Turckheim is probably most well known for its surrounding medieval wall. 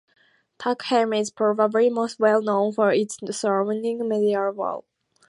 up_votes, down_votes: 2, 0